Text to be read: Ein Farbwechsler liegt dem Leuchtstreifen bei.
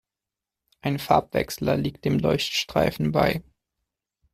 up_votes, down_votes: 2, 0